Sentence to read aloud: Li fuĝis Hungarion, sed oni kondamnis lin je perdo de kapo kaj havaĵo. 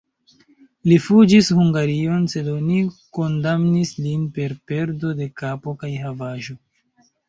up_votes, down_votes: 1, 2